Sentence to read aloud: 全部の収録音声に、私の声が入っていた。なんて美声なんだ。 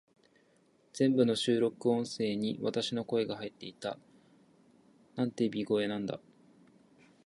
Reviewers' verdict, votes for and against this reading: rejected, 1, 2